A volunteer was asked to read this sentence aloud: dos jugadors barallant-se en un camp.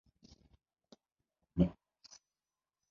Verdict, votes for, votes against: rejected, 0, 2